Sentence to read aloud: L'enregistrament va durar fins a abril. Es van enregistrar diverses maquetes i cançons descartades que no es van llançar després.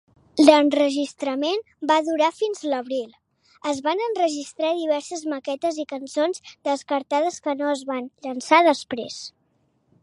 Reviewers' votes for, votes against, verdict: 2, 0, accepted